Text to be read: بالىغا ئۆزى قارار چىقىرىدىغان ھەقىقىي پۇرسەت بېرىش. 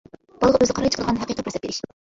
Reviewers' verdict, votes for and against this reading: rejected, 1, 2